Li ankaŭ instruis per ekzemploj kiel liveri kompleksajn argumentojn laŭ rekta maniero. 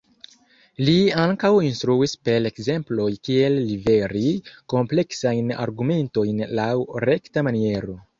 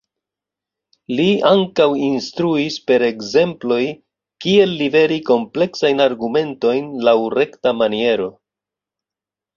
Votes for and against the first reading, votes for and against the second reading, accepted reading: 0, 2, 2, 0, second